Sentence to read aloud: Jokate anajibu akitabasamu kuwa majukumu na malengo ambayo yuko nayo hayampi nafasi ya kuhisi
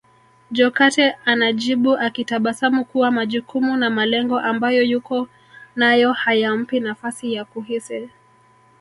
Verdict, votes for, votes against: rejected, 1, 2